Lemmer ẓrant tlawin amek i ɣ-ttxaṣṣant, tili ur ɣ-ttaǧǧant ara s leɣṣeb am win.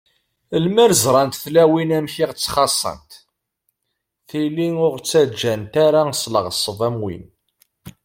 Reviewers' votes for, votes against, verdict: 2, 0, accepted